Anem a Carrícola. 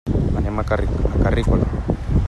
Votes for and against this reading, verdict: 1, 2, rejected